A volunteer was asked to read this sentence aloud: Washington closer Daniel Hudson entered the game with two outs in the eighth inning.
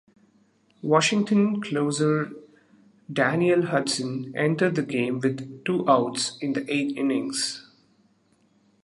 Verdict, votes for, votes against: rejected, 0, 2